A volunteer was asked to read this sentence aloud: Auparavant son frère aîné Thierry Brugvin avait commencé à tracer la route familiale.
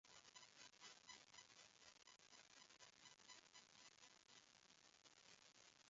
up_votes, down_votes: 0, 2